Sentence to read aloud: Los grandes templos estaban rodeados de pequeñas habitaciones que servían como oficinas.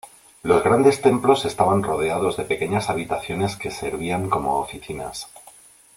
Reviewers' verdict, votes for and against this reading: accepted, 2, 0